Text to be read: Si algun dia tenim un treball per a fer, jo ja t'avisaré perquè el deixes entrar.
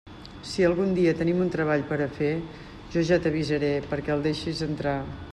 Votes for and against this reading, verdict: 0, 2, rejected